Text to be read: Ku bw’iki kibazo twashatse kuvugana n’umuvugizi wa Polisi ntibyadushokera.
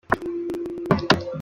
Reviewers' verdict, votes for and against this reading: rejected, 0, 2